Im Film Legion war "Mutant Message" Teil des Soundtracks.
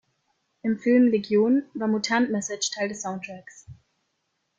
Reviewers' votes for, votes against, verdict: 2, 0, accepted